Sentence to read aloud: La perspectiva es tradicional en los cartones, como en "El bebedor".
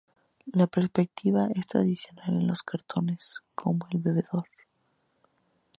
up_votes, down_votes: 0, 2